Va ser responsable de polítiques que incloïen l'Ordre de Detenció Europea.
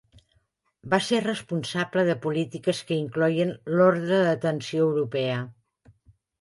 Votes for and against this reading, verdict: 3, 2, accepted